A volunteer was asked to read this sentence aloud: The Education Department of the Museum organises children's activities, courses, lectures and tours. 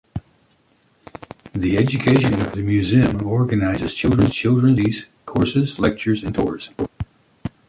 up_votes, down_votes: 1, 2